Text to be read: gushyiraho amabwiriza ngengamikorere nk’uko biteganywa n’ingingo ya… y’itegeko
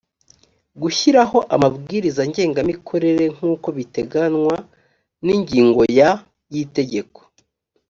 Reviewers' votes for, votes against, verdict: 3, 0, accepted